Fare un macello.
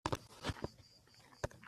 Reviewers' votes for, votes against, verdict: 0, 2, rejected